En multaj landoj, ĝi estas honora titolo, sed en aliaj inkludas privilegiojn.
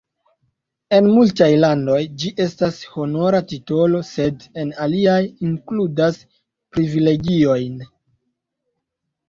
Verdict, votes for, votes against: rejected, 1, 2